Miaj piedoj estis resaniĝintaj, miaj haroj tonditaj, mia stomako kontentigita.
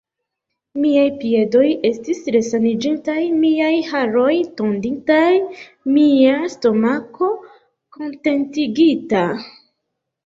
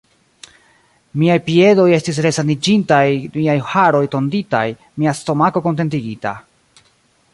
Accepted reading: first